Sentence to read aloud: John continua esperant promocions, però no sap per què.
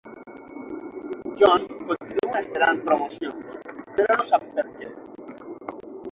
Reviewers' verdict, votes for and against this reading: rejected, 6, 9